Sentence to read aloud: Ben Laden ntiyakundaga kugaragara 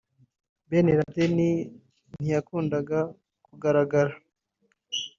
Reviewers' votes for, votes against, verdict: 2, 1, accepted